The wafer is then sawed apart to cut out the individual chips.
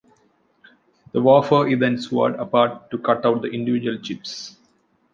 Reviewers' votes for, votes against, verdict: 1, 2, rejected